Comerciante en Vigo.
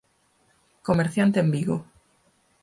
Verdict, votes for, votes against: accepted, 4, 0